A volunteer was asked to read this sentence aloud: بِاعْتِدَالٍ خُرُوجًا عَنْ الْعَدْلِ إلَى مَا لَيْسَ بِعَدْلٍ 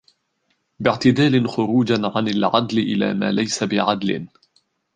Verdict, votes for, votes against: accepted, 2, 1